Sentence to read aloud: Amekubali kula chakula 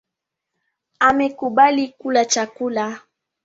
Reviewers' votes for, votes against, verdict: 0, 2, rejected